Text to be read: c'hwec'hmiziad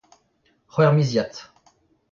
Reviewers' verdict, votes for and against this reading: accepted, 2, 1